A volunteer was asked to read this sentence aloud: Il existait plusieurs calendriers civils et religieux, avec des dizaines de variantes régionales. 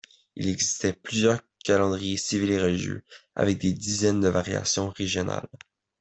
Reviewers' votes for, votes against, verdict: 0, 2, rejected